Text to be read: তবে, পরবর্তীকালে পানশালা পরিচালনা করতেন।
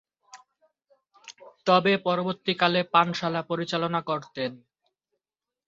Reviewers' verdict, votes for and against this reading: accepted, 3, 1